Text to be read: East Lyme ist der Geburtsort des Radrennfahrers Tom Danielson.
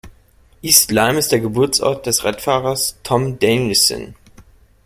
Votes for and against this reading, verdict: 1, 2, rejected